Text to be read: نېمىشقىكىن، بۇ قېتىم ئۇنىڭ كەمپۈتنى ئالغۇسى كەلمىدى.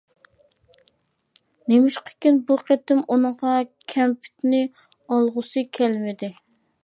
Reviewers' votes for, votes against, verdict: 0, 2, rejected